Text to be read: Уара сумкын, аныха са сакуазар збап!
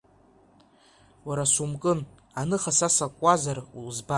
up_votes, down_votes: 1, 2